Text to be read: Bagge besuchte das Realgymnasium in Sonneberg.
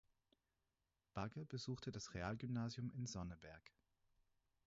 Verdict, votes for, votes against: accepted, 4, 0